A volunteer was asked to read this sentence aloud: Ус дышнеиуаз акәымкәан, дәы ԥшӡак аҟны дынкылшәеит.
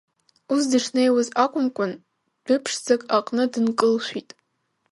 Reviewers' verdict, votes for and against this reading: rejected, 0, 2